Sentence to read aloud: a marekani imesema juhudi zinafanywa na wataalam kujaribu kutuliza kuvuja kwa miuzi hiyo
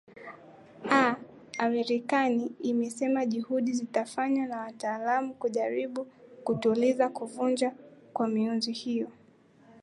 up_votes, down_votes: 0, 2